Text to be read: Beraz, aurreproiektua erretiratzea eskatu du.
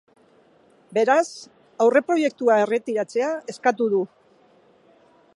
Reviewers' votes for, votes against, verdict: 2, 0, accepted